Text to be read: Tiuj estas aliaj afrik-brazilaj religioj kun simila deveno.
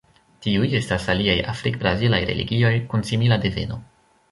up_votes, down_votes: 1, 2